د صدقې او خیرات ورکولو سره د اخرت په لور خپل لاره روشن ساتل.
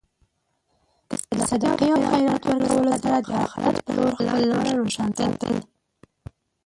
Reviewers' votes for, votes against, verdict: 1, 2, rejected